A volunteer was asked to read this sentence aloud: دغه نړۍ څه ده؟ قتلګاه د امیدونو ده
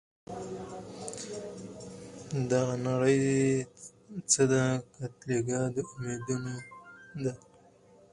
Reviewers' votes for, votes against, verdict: 0, 4, rejected